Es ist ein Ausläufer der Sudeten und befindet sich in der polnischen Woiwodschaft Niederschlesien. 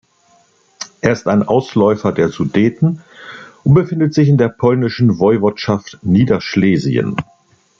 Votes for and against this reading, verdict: 2, 1, accepted